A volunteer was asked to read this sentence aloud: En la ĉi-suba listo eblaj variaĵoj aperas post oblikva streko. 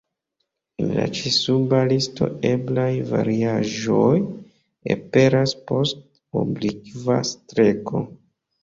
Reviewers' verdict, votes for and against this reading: rejected, 1, 2